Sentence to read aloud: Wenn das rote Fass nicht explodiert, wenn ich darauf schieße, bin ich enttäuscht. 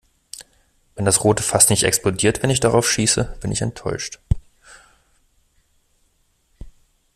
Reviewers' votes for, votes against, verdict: 2, 0, accepted